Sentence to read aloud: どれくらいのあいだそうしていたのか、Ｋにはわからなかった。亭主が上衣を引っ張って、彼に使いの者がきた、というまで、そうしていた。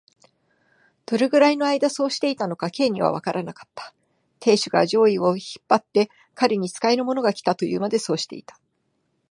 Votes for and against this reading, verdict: 3, 0, accepted